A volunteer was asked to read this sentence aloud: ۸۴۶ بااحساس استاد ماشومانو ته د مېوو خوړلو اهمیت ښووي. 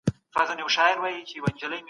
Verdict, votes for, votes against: rejected, 0, 2